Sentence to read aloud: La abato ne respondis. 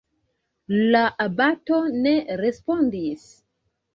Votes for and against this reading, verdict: 2, 1, accepted